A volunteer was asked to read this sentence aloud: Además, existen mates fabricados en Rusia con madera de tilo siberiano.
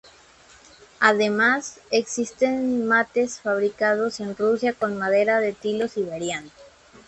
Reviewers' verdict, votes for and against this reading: accepted, 2, 0